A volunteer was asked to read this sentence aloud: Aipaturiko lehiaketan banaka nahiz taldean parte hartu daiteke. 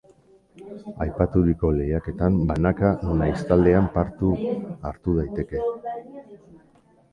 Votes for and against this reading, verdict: 0, 2, rejected